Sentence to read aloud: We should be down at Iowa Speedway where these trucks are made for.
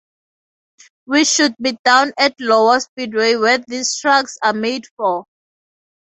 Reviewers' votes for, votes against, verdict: 2, 2, rejected